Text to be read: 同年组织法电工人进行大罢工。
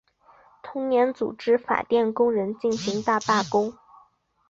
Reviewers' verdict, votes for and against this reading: accepted, 3, 0